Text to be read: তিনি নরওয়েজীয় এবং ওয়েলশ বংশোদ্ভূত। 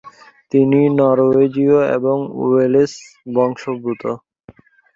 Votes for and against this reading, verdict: 1, 2, rejected